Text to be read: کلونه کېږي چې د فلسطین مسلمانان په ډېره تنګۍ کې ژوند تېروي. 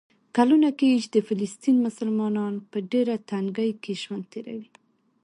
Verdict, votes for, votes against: accepted, 2, 1